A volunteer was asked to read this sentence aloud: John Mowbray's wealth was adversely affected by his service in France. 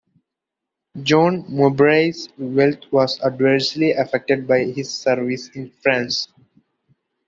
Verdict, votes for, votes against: accepted, 2, 0